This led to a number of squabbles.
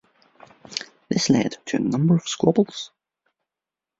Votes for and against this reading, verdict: 1, 2, rejected